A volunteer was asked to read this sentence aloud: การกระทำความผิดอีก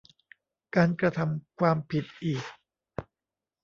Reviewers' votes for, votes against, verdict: 0, 2, rejected